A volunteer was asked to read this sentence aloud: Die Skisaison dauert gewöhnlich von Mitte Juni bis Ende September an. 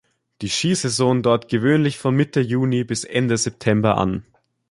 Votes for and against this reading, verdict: 2, 0, accepted